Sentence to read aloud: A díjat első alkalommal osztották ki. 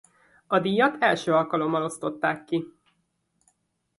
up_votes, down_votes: 2, 0